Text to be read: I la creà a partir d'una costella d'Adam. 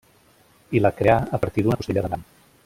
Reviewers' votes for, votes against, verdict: 0, 2, rejected